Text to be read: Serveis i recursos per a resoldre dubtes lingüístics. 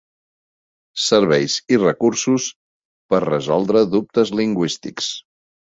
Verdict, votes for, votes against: rejected, 0, 2